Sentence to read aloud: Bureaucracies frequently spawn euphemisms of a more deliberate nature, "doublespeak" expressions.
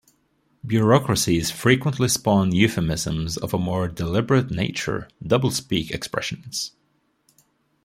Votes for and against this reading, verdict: 2, 0, accepted